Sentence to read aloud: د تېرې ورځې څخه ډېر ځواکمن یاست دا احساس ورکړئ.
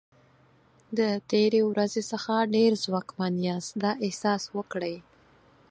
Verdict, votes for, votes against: accepted, 6, 0